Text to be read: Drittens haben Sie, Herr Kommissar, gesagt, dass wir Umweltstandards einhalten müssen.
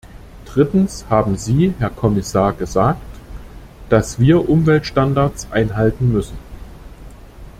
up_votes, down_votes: 2, 0